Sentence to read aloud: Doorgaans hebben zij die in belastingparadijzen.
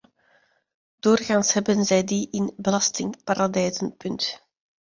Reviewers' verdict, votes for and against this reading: rejected, 0, 2